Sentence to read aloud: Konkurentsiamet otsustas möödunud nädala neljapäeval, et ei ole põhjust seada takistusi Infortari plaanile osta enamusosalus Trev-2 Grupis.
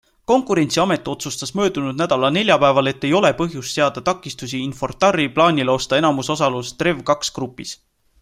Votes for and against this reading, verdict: 0, 2, rejected